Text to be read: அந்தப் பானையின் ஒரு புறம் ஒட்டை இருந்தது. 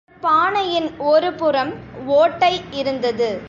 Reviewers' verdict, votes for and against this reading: rejected, 1, 2